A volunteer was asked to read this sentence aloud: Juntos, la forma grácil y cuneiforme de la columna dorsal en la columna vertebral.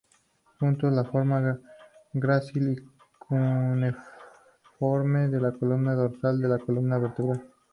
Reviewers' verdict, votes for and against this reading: rejected, 0, 2